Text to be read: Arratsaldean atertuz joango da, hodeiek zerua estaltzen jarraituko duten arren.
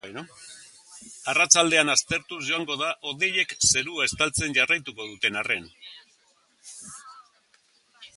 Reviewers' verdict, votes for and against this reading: accepted, 4, 3